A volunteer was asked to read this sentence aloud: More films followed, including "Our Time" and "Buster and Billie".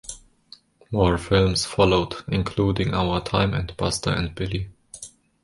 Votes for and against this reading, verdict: 1, 2, rejected